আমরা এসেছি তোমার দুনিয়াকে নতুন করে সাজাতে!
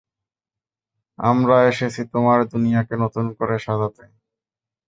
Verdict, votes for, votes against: accepted, 2, 0